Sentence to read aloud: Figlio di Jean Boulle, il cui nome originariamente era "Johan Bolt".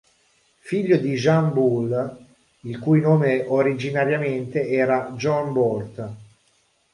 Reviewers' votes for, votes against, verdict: 0, 2, rejected